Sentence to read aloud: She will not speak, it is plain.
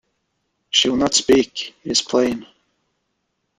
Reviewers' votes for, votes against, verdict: 2, 0, accepted